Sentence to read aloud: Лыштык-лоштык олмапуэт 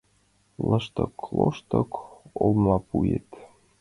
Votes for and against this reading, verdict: 2, 0, accepted